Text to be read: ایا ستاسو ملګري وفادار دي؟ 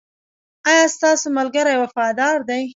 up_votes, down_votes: 2, 0